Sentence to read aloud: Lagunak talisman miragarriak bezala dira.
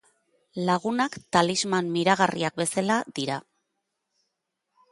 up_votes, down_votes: 1, 2